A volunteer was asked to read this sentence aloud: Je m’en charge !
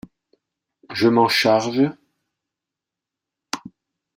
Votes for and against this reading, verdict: 1, 2, rejected